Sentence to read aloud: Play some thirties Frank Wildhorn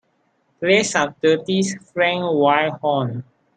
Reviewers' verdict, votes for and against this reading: rejected, 2, 3